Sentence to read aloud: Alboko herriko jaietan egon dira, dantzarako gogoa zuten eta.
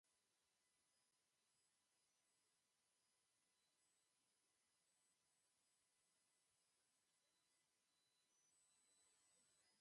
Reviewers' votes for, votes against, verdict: 0, 2, rejected